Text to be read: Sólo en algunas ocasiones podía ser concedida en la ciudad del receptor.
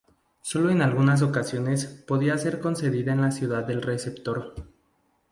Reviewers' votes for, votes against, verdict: 2, 0, accepted